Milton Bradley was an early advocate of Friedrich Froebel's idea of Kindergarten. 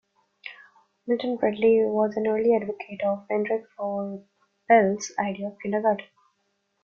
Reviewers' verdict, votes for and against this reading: rejected, 0, 2